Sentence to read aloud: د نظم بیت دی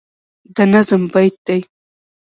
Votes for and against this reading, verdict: 2, 0, accepted